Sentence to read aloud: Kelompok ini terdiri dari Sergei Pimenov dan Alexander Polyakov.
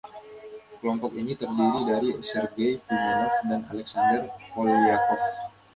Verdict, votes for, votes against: rejected, 1, 2